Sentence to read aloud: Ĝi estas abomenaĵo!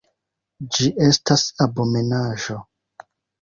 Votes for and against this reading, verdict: 2, 0, accepted